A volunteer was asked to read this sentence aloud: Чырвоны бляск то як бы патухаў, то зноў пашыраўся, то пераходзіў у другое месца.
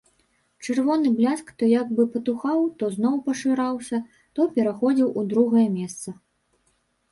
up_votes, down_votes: 0, 2